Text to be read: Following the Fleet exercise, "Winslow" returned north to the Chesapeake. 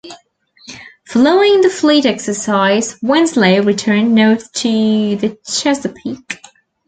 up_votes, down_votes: 1, 2